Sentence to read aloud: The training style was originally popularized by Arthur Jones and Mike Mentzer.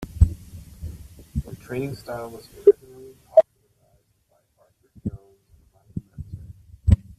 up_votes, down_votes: 0, 2